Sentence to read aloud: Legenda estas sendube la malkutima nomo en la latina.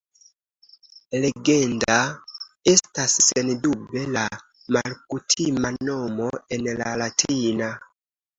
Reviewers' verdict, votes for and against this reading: accepted, 2, 0